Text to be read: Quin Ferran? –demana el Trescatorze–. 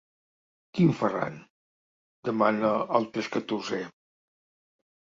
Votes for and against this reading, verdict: 0, 2, rejected